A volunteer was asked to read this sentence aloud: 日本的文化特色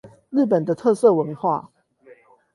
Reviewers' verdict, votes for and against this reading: rejected, 0, 8